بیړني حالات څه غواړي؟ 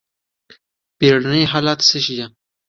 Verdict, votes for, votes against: accepted, 2, 1